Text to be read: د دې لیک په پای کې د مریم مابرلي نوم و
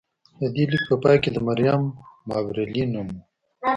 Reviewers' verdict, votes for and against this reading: rejected, 1, 2